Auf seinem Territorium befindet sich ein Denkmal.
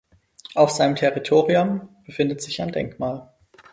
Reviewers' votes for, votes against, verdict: 4, 0, accepted